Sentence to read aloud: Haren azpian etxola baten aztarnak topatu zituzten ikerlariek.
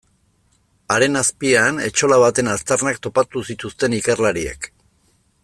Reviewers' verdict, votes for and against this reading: accepted, 2, 0